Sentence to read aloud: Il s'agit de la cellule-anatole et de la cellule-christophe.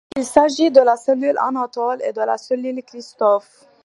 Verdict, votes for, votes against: accepted, 2, 0